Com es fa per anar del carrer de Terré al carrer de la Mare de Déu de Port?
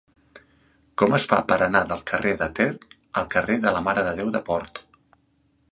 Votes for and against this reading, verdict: 0, 2, rejected